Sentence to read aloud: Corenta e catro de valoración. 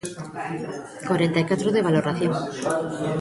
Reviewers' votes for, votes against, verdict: 0, 2, rejected